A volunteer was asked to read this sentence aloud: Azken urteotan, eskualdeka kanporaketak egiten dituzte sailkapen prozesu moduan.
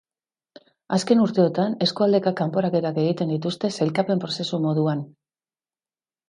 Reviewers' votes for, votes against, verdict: 2, 0, accepted